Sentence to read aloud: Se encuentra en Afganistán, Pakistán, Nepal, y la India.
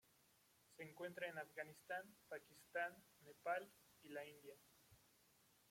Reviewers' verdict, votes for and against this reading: rejected, 0, 2